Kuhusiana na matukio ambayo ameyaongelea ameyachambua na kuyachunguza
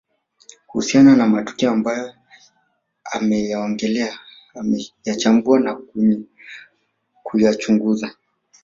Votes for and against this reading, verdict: 1, 2, rejected